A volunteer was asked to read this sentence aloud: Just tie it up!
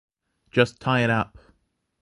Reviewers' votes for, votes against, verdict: 2, 0, accepted